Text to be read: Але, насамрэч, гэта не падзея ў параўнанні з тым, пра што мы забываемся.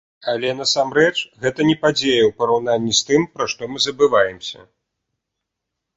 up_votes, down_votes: 2, 0